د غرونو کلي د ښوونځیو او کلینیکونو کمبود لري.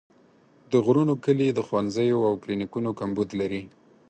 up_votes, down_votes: 4, 0